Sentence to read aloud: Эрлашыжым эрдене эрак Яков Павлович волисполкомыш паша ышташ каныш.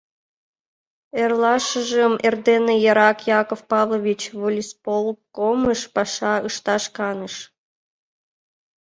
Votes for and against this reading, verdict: 2, 1, accepted